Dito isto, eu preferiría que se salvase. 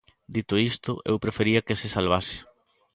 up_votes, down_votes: 1, 2